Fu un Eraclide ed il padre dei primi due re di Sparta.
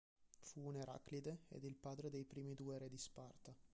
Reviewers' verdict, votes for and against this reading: rejected, 0, 2